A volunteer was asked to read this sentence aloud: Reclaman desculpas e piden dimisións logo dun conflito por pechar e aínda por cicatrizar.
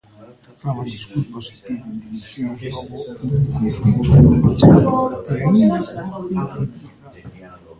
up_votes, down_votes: 0, 3